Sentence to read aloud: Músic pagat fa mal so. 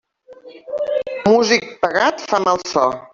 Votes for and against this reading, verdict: 1, 2, rejected